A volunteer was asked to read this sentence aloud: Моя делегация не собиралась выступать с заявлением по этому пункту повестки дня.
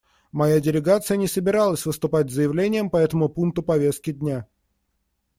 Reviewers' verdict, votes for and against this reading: accepted, 2, 0